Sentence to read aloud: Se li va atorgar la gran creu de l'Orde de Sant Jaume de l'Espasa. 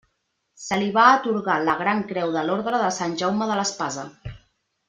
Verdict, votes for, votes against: rejected, 1, 2